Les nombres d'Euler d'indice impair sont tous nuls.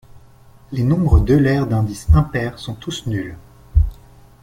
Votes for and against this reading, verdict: 2, 0, accepted